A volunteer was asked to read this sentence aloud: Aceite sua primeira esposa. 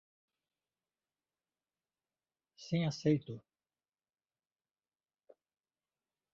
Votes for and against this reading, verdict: 0, 2, rejected